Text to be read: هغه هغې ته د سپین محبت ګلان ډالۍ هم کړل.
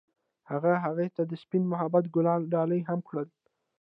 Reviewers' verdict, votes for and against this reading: accepted, 2, 0